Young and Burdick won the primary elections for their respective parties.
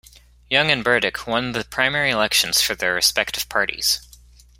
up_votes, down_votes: 2, 0